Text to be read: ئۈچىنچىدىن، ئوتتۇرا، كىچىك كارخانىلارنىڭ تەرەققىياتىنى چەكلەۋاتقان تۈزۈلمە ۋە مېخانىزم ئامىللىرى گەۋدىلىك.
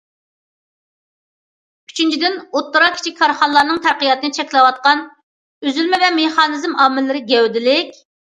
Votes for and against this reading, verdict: 0, 2, rejected